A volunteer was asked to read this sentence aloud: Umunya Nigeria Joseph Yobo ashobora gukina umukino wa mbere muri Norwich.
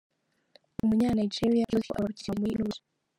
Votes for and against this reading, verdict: 0, 4, rejected